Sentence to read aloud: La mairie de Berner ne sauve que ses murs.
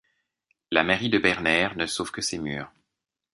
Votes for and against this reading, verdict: 2, 0, accepted